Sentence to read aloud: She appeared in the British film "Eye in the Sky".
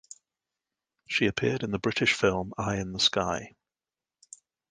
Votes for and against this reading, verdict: 2, 0, accepted